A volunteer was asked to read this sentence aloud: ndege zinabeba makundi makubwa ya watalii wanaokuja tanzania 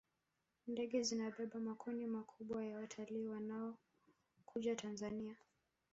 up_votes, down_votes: 1, 2